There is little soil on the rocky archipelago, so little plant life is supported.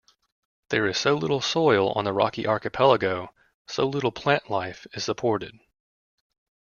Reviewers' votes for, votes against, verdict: 0, 2, rejected